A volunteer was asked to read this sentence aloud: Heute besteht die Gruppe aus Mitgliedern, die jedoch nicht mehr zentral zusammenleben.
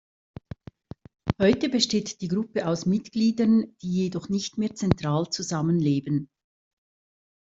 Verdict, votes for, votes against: accepted, 2, 0